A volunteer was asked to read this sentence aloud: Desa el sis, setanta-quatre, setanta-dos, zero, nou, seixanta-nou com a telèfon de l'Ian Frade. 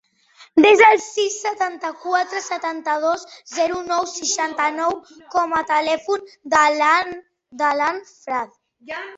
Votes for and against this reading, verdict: 1, 2, rejected